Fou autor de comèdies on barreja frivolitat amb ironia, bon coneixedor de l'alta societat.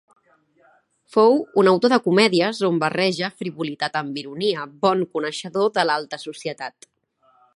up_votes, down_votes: 1, 2